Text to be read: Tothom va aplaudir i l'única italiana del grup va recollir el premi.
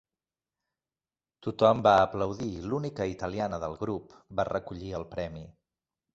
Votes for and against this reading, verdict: 2, 0, accepted